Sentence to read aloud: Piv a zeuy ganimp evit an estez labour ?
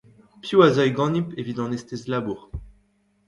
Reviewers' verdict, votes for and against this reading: accepted, 2, 1